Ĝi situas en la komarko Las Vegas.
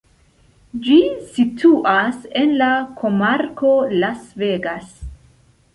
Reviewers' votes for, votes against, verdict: 2, 0, accepted